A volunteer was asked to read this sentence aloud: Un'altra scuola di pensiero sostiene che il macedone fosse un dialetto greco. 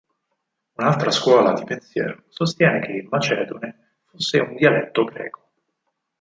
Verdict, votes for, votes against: rejected, 2, 4